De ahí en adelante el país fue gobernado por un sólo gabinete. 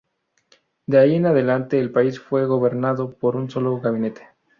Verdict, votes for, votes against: rejected, 0, 2